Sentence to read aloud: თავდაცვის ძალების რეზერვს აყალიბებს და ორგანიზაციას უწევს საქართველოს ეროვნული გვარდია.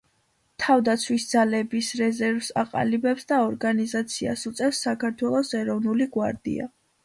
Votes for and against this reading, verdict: 2, 1, accepted